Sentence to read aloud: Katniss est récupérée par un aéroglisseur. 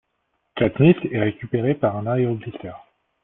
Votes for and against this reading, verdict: 2, 0, accepted